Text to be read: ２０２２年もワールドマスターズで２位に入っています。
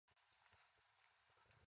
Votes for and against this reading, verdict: 0, 2, rejected